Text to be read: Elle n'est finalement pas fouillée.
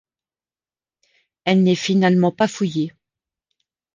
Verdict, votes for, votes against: accepted, 3, 0